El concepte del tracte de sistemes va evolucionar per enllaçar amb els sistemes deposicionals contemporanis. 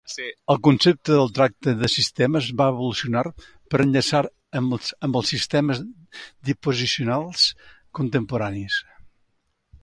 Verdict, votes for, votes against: rejected, 0, 2